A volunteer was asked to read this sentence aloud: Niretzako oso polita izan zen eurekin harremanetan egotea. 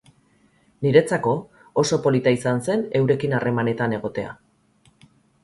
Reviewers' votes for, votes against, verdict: 2, 2, rejected